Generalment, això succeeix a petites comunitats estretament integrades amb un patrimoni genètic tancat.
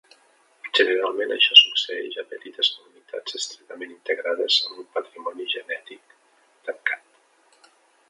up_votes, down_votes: 0, 2